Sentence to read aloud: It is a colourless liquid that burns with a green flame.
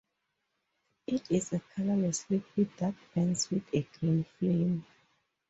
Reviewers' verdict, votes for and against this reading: accepted, 2, 0